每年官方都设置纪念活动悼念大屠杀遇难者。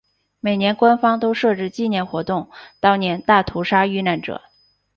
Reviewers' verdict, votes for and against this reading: accepted, 3, 0